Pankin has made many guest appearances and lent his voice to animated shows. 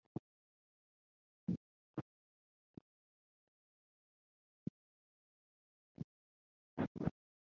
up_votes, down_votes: 0, 2